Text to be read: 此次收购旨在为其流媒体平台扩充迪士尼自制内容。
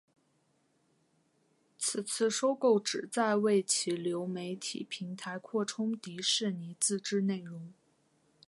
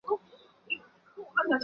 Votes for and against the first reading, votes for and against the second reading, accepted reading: 2, 0, 0, 3, first